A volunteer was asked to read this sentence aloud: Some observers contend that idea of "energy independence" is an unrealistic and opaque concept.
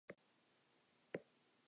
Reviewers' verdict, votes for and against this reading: rejected, 0, 2